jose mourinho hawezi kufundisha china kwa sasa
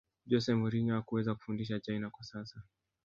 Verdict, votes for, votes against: rejected, 1, 3